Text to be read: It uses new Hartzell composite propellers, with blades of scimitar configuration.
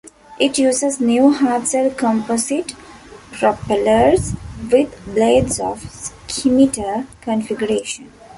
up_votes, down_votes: 2, 0